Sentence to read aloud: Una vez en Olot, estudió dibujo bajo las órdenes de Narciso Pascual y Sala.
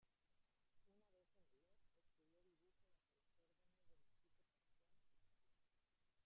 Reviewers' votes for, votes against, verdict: 0, 2, rejected